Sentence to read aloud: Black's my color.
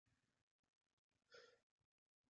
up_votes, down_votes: 0, 2